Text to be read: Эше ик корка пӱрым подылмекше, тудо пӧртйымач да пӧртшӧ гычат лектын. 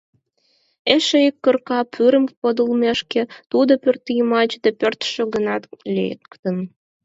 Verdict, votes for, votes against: rejected, 2, 4